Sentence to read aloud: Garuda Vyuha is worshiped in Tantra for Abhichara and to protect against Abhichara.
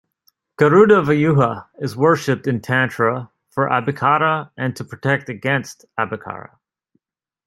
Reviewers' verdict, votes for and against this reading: accepted, 2, 0